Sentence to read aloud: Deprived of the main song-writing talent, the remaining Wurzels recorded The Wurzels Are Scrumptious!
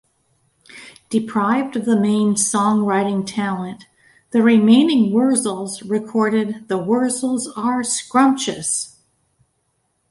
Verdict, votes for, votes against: accepted, 2, 0